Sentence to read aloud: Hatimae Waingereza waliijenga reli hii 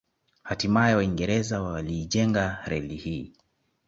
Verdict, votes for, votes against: accepted, 2, 0